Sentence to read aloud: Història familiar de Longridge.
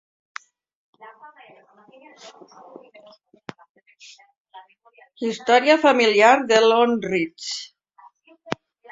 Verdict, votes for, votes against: rejected, 0, 2